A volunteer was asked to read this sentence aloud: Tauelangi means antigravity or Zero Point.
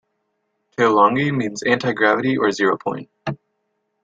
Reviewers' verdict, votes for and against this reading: accepted, 2, 0